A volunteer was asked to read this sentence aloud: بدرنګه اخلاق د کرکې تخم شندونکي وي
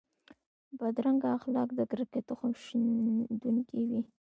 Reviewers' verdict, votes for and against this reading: accepted, 2, 0